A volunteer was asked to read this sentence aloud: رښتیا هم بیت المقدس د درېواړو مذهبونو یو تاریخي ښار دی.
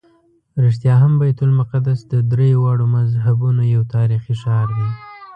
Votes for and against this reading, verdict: 2, 0, accepted